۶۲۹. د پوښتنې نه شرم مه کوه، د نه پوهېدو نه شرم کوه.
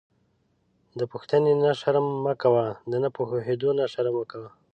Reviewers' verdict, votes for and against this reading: rejected, 0, 2